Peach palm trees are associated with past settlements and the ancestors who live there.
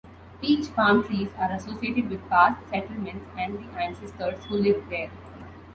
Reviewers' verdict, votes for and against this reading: accepted, 2, 1